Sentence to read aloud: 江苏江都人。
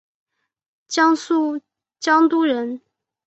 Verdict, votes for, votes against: accepted, 2, 0